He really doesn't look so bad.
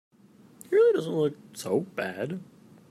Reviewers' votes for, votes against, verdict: 0, 2, rejected